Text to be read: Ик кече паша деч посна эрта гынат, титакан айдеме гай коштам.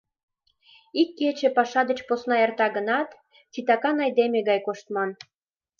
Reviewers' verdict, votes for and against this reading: rejected, 1, 2